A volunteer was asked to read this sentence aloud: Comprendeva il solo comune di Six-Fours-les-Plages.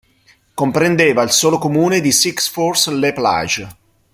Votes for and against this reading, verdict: 2, 0, accepted